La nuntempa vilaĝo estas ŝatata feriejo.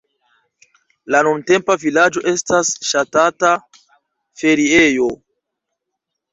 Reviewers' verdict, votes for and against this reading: accepted, 2, 1